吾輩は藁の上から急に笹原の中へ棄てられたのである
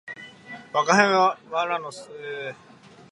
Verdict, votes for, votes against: rejected, 0, 2